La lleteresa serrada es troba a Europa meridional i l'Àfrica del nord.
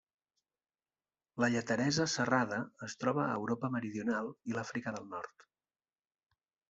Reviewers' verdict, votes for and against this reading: accepted, 3, 0